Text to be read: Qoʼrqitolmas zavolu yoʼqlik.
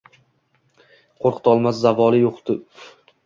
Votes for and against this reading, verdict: 0, 2, rejected